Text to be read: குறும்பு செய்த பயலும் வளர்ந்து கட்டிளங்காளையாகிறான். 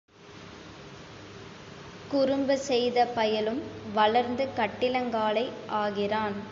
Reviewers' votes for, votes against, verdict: 1, 2, rejected